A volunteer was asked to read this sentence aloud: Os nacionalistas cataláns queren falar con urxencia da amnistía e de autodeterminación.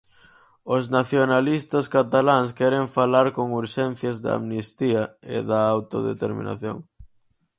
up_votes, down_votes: 2, 4